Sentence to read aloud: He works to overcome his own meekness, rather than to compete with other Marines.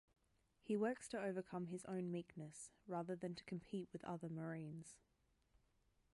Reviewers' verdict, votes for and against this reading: accepted, 2, 0